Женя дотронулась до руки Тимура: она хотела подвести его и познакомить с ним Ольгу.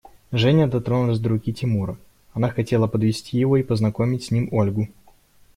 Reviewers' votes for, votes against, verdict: 2, 0, accepted